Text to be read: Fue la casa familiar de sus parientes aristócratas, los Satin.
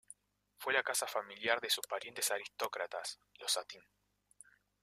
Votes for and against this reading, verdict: 0, 2, rejected